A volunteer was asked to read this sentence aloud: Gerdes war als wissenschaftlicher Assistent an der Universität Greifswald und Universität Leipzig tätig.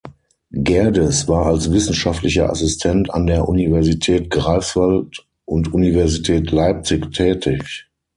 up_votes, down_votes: 0, 6